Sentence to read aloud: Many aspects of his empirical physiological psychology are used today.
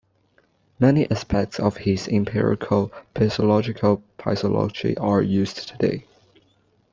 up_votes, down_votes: 0, 2